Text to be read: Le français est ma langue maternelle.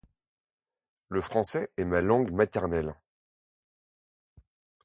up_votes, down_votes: 2, 0